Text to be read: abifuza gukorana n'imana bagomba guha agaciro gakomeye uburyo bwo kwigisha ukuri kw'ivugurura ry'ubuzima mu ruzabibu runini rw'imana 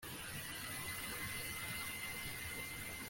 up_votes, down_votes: 0, 2